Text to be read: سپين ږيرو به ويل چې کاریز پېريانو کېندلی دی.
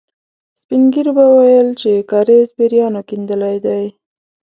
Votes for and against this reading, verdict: 2, 0, accepted